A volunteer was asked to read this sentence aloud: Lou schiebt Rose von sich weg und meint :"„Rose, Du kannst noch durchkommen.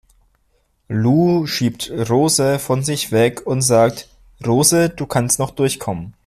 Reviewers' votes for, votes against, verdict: 1, 2, rejected